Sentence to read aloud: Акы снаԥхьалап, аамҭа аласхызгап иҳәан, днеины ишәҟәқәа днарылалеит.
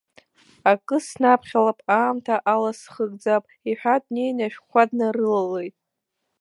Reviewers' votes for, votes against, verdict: 1, 2, rejected